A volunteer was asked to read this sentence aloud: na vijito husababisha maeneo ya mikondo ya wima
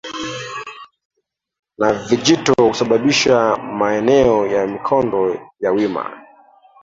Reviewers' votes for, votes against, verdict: 0, 2, rejected